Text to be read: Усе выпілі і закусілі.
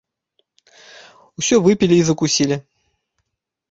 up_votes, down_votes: 0, 2